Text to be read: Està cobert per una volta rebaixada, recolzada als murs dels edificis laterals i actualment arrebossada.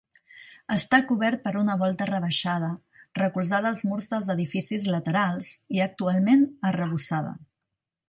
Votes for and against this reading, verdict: 3, 0, accepted